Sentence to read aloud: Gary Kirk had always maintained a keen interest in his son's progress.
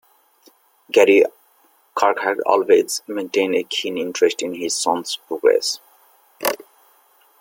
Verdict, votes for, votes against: accepted, 2, 1